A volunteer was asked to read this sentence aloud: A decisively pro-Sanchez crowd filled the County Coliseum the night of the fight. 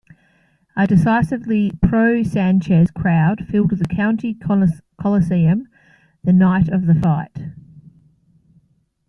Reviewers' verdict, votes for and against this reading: accepted, 2, 0